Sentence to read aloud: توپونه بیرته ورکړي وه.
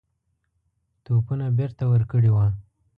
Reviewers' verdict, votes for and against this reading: accepted, 2, 0